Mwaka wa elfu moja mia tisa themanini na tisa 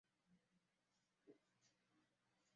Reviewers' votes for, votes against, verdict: 0, 2, rejected